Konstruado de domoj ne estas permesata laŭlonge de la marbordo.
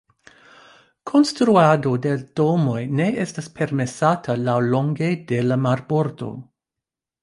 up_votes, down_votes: 2, 0